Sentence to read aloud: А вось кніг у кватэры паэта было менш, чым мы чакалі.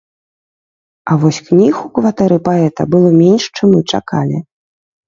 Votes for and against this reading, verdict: 2, 0, accepted